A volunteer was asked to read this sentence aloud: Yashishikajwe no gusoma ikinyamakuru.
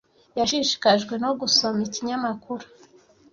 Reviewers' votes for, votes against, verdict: 2, 0, accepted